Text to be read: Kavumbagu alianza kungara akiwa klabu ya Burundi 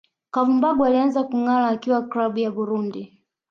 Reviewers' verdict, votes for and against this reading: rejected, 1, 2